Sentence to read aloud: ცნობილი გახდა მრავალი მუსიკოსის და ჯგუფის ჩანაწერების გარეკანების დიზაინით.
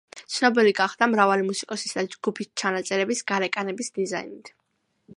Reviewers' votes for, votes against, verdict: 2, 0, accepted